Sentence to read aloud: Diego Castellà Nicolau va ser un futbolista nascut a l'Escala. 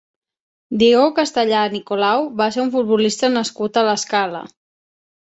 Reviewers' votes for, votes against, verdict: 6, 0, accepted